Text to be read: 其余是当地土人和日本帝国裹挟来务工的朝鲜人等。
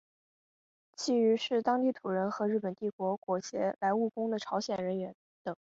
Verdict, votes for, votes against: rejected, 0, 2